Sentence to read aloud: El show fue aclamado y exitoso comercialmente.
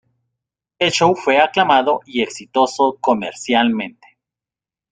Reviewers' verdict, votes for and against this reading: rejected, 1, 2